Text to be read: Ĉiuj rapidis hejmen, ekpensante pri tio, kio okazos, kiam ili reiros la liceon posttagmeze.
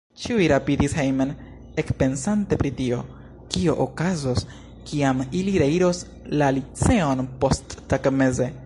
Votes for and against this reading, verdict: 1, 2, rejected